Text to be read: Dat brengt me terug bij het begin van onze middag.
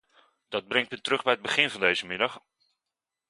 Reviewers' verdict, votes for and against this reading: rejected, 1, 2